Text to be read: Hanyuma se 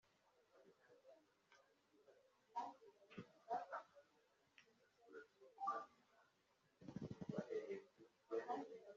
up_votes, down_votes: 0, 2